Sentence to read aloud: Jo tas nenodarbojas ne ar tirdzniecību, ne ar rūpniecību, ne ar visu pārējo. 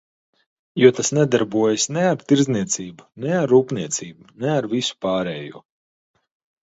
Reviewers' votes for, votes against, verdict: 1, 2, rejected